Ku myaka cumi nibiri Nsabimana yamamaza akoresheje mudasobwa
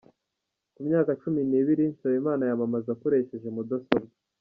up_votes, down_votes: 2, 0